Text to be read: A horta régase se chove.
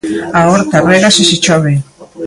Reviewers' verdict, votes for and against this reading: rejected, 0, 2